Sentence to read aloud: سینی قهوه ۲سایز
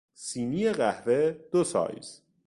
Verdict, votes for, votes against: rejected, 0, 2